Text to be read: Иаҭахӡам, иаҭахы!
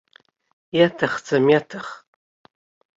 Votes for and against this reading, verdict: 1, 2, rejected